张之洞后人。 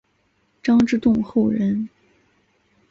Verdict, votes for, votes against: accepted, 3, 0